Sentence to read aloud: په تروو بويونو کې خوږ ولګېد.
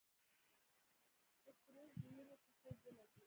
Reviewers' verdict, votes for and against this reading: rejected, 1, 2